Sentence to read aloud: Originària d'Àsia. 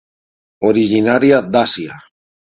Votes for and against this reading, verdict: 6, 3, accepted